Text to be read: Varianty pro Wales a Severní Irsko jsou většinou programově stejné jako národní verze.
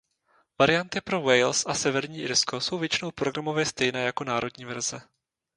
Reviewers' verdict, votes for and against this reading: rejected, 0, 2